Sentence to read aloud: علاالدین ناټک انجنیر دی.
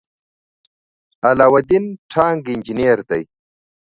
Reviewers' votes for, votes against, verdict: 1, 2, rejected